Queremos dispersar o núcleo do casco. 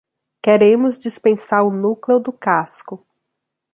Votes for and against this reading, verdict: 1, 2, rejected